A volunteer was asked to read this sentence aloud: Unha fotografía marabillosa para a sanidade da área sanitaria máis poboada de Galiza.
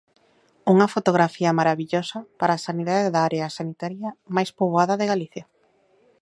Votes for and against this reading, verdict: 0, 2, rejected